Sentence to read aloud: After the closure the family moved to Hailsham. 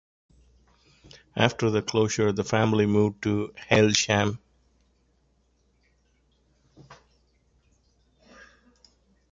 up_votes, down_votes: 2, 0